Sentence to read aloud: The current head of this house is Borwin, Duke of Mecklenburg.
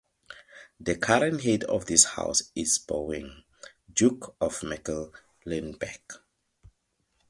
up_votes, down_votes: 0, 4